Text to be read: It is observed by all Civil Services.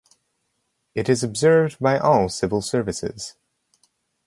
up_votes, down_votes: 4, 0